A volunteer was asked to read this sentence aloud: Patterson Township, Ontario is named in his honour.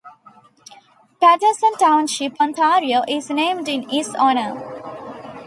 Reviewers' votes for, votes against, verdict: 2, 1, accepted